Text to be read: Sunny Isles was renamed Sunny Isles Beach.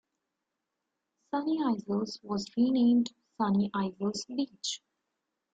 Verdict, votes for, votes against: rejected, 2, 3